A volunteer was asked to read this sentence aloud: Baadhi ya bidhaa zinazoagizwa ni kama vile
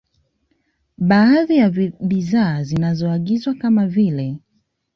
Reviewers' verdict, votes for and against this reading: accepted, 2, 1